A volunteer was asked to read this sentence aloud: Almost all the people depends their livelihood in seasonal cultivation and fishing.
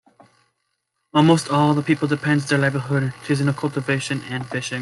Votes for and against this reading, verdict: 1, 2, rejected